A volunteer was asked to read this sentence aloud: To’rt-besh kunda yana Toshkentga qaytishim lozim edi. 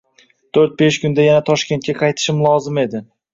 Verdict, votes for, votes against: accepted, 2, 0